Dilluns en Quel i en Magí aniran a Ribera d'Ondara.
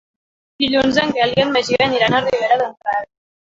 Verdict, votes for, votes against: rejected, 1, 3